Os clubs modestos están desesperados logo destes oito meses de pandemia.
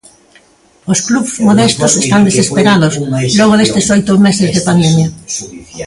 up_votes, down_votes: 1, 2